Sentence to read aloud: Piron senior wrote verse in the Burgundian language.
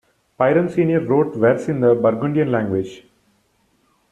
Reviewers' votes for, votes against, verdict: 2, 0, accepted